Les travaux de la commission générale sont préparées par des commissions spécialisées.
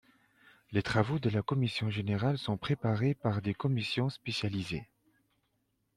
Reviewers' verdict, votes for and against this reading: accepted, 2, 0